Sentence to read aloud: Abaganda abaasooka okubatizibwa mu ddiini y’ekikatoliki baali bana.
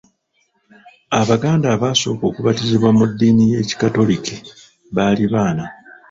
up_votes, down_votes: 0, 2